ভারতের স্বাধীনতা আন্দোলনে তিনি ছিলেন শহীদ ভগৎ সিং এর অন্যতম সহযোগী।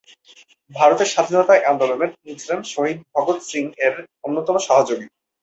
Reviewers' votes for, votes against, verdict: 2, 0, accepted